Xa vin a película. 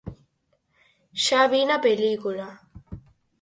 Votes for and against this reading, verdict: 4, 0, accepted